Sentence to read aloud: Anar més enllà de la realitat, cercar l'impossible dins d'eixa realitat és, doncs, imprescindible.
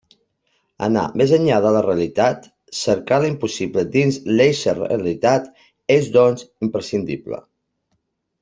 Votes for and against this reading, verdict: 1, 2, rejected